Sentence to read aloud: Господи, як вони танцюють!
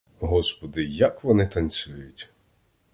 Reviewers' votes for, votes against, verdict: 2, 0, accepted